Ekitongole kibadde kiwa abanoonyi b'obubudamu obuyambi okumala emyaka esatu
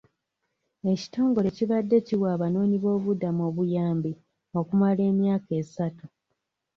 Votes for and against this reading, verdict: 2, 0, accepted